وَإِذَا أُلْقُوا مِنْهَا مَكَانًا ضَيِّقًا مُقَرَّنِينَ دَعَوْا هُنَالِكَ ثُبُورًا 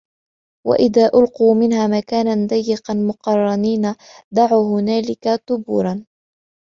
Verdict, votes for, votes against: accepted, 3, 0